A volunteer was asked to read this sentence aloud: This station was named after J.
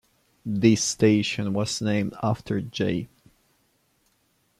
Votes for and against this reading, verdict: 2, 0, accepted